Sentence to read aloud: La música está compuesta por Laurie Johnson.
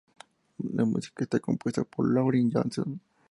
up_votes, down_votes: 2, 0